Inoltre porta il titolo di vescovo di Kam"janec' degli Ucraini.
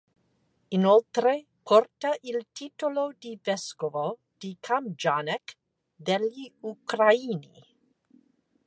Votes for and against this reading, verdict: 2, 0, accepted